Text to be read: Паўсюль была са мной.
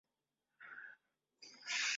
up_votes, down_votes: 0, 2